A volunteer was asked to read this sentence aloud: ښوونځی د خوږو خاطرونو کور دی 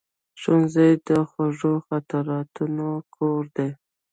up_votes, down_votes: 0, 2